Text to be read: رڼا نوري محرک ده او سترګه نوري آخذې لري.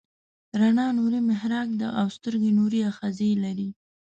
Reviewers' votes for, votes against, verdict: 2, 3, rejected